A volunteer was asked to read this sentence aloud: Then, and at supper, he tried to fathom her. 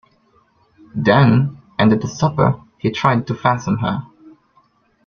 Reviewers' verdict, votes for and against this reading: accepted, 2, 0